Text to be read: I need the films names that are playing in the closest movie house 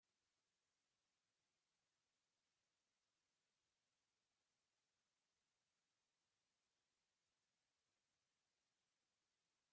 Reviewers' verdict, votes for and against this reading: rejected, 0, 2